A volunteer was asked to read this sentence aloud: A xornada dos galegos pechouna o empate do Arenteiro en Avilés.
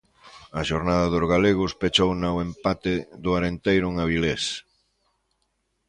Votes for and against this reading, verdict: 2, 0, accepted